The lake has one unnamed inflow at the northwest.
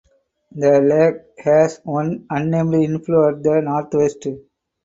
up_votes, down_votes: 4, 0